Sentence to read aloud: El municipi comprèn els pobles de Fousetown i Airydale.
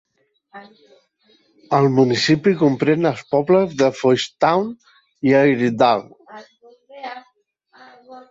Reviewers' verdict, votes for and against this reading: rejected, 1, 2